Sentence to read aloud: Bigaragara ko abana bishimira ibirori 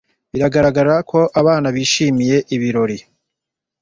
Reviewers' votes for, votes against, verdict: 1, 2, rejected